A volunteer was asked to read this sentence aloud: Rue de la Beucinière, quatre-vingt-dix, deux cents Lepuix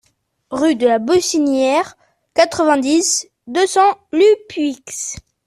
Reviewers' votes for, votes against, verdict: 1, 2, rejected